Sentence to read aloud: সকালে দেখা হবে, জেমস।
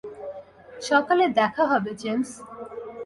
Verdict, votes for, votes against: accepted, 2, 0